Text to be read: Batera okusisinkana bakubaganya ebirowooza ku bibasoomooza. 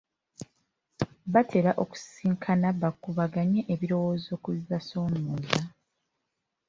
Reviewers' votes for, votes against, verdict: 2, 1, accepted